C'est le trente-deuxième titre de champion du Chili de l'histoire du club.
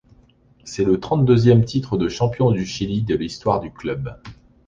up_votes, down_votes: 2, 0